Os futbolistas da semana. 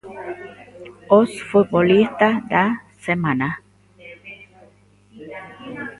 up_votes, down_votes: 2, 0